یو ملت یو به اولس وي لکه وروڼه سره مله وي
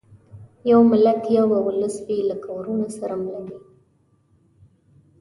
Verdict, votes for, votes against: accepted, 2, 0